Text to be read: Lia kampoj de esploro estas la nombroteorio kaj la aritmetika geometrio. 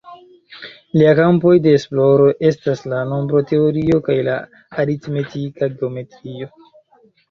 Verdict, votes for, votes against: rejected, 1, 2